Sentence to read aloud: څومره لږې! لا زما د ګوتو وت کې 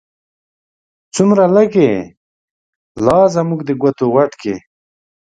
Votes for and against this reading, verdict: 1, 2, rejected